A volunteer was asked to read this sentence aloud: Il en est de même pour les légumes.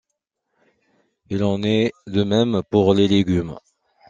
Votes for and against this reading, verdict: 2, 1, accepted